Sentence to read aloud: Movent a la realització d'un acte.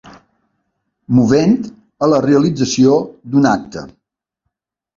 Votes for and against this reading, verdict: 3, 0, accepted